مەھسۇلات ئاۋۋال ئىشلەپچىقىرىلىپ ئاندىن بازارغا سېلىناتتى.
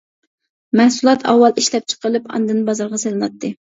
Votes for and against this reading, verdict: 2, 0, accepted